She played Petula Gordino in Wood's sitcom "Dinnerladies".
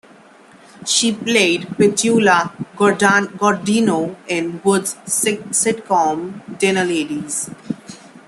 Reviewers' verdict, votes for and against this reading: rejected, 1, 2